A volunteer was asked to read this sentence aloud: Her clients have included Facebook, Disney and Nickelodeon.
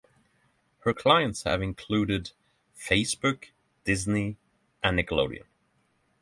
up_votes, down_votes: 3, 0